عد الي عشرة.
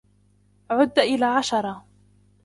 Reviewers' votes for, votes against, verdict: 0, 2, rejected